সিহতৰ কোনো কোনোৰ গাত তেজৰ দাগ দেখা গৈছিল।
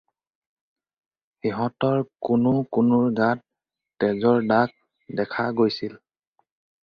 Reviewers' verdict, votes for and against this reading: rejected, 2, 2